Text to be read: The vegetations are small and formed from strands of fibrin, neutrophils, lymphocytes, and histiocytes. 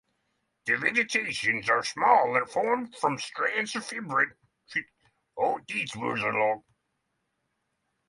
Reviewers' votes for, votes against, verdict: 0, 3, rejected